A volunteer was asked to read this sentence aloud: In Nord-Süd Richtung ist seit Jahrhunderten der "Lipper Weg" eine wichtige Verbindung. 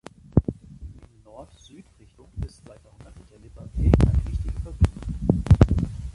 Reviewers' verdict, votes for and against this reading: accepted, 2, 0